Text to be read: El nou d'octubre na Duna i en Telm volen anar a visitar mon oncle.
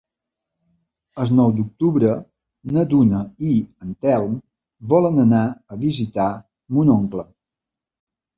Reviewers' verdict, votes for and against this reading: accepted, 2, 1